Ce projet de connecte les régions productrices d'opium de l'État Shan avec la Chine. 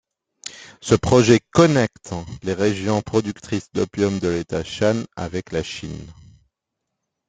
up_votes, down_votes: 1, 2